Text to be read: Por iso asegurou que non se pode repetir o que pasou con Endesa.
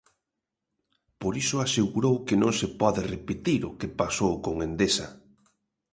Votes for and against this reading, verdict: 2, 0, accepted